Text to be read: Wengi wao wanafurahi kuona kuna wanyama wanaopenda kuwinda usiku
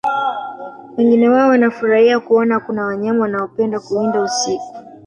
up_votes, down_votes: 2, 4